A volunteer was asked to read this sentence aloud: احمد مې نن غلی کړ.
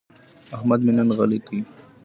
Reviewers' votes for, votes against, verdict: 2, 0, accepted